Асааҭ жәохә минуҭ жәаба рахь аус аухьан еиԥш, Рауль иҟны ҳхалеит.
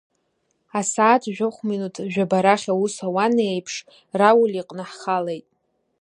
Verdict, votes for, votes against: rejected, 1, 2